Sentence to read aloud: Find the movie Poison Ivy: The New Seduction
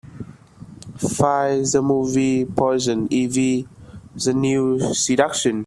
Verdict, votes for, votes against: rejected, 1, 2